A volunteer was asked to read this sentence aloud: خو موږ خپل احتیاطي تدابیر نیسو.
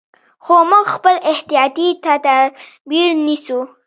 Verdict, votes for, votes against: accepted, 2, 1